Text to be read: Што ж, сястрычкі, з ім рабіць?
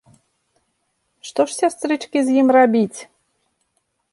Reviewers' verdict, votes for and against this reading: accepted, 2, 0